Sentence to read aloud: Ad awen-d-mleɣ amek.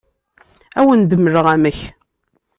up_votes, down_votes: 2, 0